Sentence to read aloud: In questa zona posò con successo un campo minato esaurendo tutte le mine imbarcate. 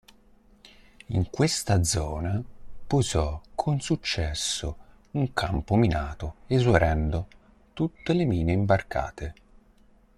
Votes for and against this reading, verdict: 0, 2, rejected